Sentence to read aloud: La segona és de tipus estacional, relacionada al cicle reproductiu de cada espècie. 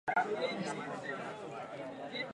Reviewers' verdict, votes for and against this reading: rejected, 0, 2